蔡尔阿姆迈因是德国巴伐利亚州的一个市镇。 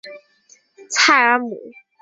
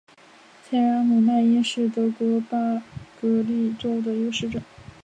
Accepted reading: second